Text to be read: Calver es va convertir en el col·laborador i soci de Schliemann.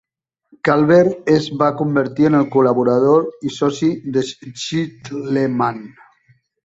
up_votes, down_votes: 1, 2